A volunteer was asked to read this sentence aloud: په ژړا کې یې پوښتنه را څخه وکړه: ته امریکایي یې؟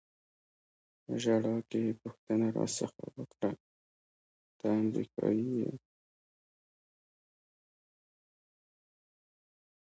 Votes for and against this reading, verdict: 2, 0, accepted